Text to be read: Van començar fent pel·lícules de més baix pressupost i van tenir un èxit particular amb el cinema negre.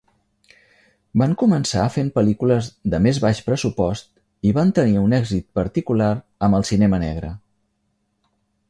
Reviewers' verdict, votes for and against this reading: accepted, 4, 0